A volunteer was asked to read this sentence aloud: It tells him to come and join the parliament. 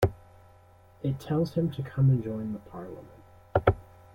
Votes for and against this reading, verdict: 2, 0, accepted